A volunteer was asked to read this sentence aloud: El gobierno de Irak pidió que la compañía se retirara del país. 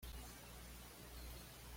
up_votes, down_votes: 1, 2